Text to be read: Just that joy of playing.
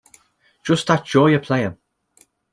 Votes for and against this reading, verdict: 2, 0, accepted